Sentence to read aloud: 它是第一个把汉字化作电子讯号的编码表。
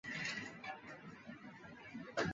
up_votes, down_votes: 0, 2